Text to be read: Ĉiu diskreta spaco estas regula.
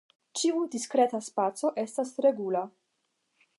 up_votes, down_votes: 5, 0